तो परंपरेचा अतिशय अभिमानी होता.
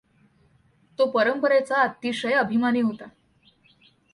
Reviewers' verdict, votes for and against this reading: accepted, 2, 0